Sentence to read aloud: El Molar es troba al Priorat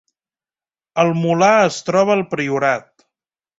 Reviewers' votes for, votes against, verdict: 3, 0, accepted